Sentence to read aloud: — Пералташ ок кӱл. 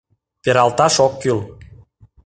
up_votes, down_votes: 2, 0